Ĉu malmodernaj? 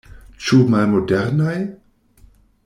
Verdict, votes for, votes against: accepted, 2, 0